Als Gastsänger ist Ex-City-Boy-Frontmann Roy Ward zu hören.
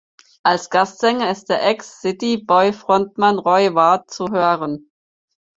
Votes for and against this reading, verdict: 0, 4, rejected